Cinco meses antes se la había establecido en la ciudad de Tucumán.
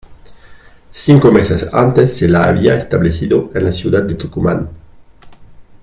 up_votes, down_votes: 2, 0